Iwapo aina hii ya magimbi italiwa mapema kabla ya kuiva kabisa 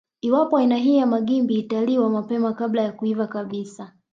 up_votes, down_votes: 1, 2